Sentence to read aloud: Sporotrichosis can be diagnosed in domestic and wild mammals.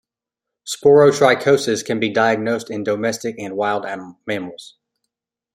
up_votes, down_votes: 2, 1